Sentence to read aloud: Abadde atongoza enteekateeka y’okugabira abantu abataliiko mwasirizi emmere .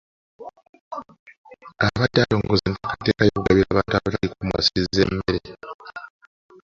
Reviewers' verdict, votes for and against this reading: rejected, 0, 2